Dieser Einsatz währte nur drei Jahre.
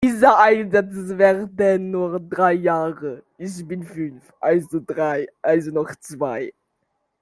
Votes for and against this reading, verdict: 0, 2, rejected